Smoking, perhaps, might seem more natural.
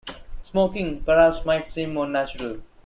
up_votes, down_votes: 2, 0